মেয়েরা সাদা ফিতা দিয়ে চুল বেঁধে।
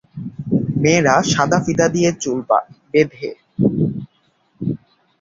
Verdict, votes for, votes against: rejected, 2, 2